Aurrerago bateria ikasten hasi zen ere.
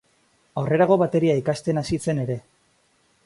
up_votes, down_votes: 2, 0